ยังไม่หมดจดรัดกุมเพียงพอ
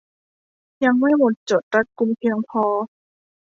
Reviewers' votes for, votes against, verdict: 2, 0, accepted